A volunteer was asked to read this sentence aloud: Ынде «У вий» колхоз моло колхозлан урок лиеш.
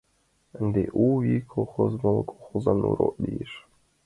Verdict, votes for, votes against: accepted, 2, 0